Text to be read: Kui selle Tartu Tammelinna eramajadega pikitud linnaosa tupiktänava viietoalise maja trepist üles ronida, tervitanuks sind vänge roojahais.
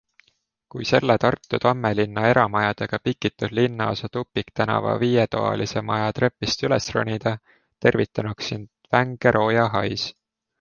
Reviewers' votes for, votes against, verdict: 2, 0, accepted